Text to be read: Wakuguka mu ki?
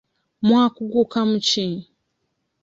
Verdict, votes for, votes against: rejected, 0, 2